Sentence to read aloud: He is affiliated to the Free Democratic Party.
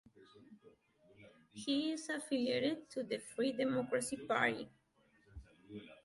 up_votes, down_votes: 0, 2